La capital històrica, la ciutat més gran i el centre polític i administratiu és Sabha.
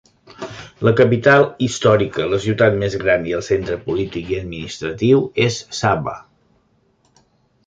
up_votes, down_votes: 2, 0